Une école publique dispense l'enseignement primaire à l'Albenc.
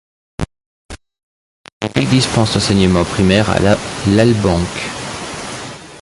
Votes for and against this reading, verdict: 0, 2, rejected